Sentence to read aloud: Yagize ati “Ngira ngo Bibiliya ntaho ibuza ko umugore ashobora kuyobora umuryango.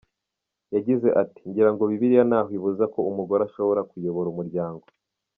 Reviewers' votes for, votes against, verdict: 2, 0, accepted